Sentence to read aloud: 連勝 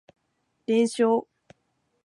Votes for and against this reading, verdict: 2, 0, accepted